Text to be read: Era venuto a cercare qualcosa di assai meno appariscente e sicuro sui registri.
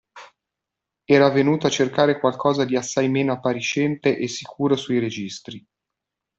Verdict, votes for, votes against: accepted, 2, 0